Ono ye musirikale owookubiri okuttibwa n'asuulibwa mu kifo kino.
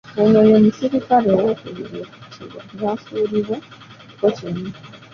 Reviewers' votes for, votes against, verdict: 2, 1, accepted